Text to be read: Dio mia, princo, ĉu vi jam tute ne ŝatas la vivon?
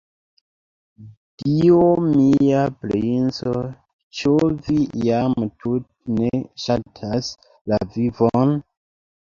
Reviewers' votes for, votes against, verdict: 1, 3, rejected